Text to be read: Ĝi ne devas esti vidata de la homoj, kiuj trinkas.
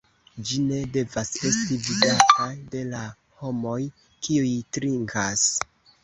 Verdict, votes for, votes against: accepted, 2, 0